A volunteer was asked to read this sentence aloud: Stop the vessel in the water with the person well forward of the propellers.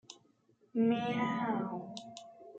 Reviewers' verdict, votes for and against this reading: rejected, 0, 2